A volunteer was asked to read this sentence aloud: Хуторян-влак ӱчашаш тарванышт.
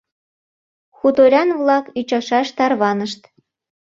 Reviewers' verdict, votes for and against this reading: accepted, 2, 0